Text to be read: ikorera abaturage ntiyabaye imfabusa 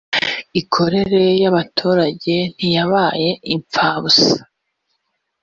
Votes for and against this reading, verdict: 2, 3, rejected